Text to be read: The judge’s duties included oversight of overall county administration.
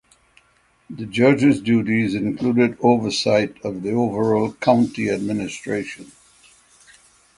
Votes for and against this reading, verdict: 6, 0, accepted